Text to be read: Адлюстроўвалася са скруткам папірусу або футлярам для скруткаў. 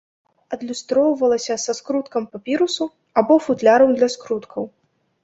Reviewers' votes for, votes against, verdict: 2, 0, accepted